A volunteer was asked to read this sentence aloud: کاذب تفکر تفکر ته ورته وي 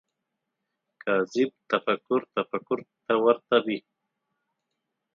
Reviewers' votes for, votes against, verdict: 4, 2, accepted